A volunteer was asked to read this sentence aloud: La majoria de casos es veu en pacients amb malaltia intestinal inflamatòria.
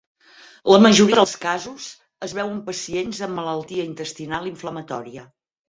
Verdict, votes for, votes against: rejected, 0, 4